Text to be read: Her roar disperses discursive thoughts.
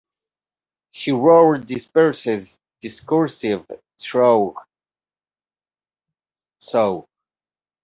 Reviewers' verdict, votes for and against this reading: rejected, 0, 2